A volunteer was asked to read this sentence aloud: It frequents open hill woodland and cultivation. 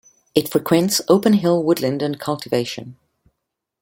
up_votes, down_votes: 2, 0